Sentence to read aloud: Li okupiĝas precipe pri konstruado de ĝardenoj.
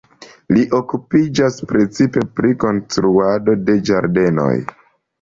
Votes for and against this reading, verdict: 2, 0, accepted